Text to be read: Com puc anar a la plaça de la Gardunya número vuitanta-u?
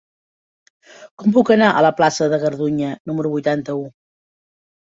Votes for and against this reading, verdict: 1, 3, rejected